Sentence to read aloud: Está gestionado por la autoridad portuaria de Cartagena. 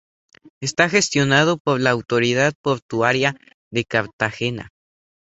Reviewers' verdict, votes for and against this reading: accepted, 4, 0